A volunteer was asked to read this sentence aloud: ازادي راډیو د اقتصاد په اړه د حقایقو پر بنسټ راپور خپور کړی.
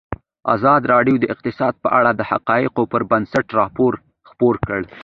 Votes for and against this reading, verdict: 2, 1, accepted